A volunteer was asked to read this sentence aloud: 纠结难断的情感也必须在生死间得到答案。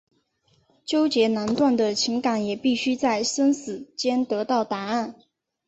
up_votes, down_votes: 2, 0